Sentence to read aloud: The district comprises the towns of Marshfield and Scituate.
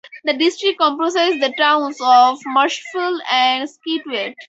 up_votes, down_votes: 2, 0